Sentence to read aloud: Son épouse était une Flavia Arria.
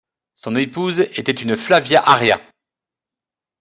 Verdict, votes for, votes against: accepted, 2, 0